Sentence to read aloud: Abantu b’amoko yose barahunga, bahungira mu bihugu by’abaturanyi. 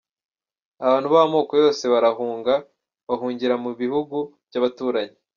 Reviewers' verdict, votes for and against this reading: accepted, 2, 0